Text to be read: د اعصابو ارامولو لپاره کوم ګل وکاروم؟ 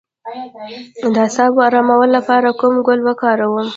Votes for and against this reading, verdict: 0, 2, rejected